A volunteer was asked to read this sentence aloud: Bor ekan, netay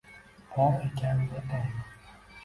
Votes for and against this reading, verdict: 1, 2, rejected